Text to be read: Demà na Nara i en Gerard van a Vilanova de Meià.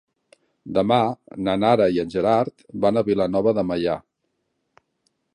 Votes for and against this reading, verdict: 2, 0, accepted